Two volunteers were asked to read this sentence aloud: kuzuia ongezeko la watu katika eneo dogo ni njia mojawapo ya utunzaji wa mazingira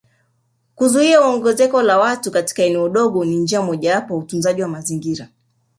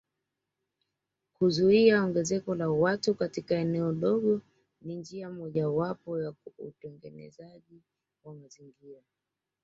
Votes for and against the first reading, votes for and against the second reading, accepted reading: 2, 1, 0, 2, first